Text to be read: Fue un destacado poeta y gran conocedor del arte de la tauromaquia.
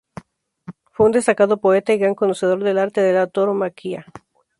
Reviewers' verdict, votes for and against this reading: rejected, 0, 2